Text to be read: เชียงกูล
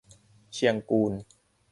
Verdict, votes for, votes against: accepted, 2, 0